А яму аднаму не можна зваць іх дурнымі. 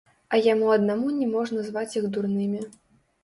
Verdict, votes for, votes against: rejected, 1, 2